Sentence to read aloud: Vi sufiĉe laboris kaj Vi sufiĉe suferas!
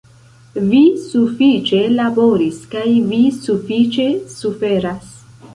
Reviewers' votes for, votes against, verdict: 2, 0, accepted